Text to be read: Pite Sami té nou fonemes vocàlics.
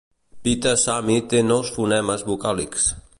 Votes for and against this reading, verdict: 2, 0, accepted